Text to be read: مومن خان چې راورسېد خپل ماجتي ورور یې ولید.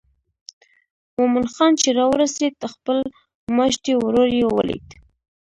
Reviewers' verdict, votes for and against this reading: accepted, 2, 1